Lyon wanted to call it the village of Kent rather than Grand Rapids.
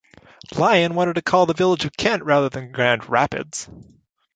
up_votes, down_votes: 1, 2